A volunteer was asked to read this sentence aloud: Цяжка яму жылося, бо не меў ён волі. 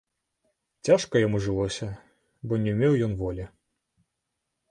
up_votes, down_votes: 0, 2